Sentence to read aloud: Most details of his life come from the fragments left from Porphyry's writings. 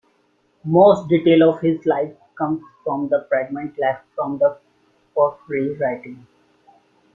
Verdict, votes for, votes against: rejected, 0, 2